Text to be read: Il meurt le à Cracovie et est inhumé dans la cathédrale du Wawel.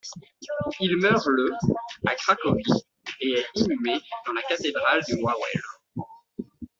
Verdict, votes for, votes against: rejected, 0, 2